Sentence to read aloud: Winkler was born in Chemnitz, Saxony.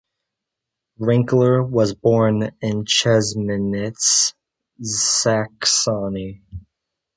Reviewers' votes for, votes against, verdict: 0, 2, rejected